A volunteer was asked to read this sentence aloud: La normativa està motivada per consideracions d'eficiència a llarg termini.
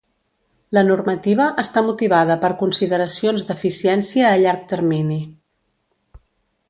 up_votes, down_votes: 2, 0